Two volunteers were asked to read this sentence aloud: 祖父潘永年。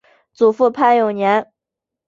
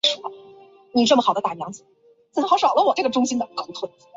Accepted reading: first